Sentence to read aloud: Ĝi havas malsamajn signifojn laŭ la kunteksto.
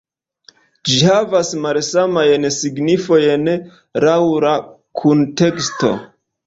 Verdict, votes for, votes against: rejected, 1, 2